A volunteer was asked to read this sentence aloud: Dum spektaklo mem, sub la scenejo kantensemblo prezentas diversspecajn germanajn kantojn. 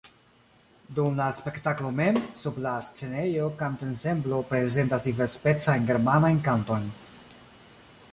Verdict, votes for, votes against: rejected, 0, 2